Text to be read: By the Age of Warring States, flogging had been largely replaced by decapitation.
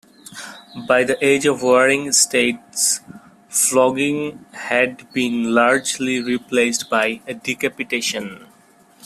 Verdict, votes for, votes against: accepted, 2, 0